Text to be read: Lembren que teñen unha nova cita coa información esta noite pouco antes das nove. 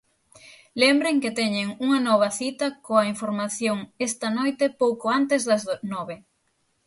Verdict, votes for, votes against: rejected, 3, 6